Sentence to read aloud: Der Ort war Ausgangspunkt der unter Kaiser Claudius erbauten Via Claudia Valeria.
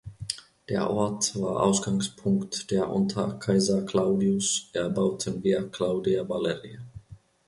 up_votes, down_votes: 2, 0